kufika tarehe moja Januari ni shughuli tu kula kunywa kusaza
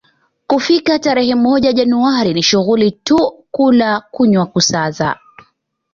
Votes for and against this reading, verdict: 2, 1, accepted